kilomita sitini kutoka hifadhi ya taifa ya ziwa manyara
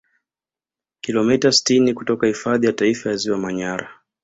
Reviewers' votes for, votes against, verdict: 2, 0, accepted